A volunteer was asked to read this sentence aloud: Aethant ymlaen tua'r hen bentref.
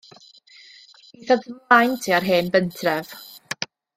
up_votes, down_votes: 0, 2